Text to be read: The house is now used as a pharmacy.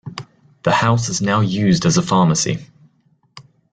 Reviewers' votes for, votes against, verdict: 2, 0, accepted